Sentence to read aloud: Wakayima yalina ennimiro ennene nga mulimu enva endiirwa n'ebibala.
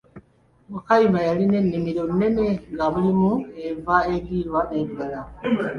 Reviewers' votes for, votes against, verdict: 2, 0, accepted